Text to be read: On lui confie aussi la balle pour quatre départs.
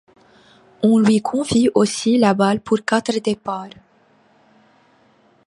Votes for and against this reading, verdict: 2, 0, accepted